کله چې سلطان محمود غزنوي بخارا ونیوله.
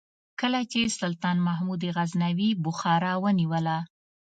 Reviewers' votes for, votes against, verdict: 3, 0, accepted